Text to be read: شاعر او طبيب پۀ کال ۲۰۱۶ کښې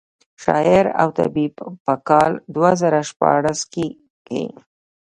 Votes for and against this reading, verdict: 0, 2, rejected